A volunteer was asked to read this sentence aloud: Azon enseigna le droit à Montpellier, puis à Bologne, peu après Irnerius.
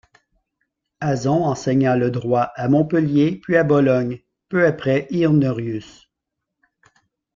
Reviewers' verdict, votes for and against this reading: accepted, 2, 0